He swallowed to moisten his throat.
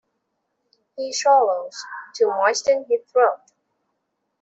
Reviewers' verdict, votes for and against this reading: rejected, 0, 2